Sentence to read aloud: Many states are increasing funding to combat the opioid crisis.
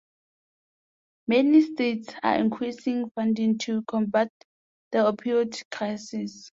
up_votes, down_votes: 2, 0